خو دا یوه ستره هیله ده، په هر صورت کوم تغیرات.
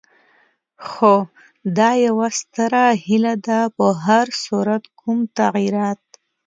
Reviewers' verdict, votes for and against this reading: accepted, 2, 0